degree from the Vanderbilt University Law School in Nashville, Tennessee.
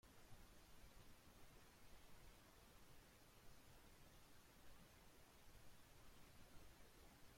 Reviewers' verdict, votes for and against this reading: rejected, 0, 2